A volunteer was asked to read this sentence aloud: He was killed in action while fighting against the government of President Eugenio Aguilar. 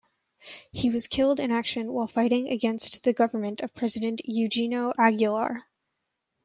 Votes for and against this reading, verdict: 2, 0, accepted